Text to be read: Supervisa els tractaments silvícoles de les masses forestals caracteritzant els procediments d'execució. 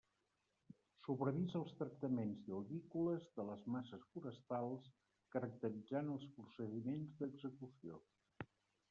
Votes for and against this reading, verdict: 0, 2, rejected